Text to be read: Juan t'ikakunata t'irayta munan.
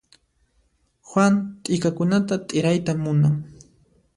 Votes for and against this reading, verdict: 2, 0, accepted